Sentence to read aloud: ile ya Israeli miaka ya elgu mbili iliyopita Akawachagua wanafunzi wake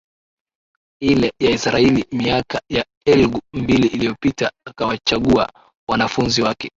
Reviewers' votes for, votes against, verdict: 2, 1, accepted